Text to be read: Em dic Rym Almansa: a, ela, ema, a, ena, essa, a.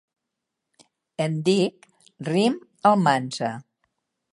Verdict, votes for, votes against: rejected, 0, 2